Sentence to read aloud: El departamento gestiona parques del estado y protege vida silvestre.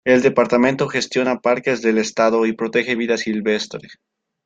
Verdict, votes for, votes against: accepted, 2, 0